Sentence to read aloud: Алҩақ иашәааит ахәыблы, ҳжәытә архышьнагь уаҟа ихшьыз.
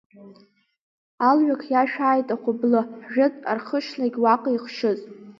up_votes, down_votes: 2, 1